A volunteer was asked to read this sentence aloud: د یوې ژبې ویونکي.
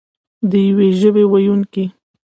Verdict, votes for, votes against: accepted, 2, 1